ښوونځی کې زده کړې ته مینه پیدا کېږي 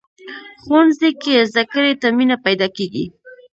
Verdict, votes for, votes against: rejected, 0, 2